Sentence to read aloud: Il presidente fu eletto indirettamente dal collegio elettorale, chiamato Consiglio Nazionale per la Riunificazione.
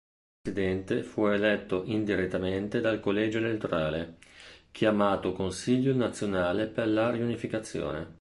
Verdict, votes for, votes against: rejected, 2, 3